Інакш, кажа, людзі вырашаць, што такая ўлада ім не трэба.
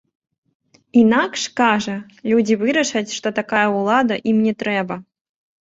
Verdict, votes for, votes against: accepted, 2, 0